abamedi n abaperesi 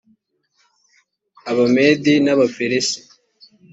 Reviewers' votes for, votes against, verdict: 2, 0, accepted